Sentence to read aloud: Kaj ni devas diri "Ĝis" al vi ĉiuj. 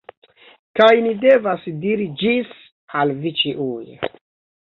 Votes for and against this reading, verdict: 2, 1, accepted